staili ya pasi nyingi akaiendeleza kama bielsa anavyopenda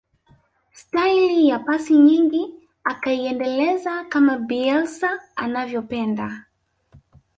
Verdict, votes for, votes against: rejected, 1, 2